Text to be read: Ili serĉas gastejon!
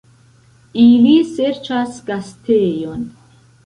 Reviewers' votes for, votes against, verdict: 1, 2, rejected